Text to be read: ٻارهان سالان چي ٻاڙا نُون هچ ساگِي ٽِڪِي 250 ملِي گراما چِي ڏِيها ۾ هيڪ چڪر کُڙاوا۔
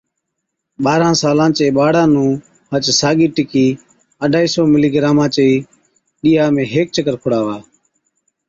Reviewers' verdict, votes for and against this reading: rejected, 0, 2